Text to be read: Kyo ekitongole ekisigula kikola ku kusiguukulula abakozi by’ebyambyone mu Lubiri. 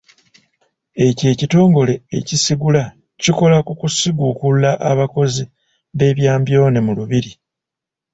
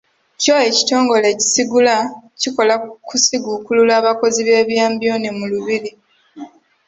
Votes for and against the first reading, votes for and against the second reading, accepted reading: 0, 2, 2, 0, second